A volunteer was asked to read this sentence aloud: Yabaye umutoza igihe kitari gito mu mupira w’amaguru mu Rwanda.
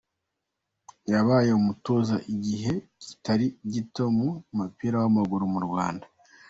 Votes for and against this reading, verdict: 2, 0, accepted